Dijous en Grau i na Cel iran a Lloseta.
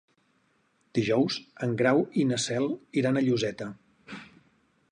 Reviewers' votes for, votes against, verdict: 4, 0, accepted